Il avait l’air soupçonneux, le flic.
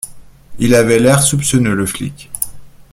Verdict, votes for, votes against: accepted, 2, 0